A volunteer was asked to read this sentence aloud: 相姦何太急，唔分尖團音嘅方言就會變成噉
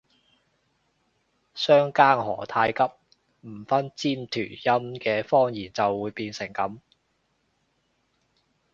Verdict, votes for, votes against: accepted, 2, 0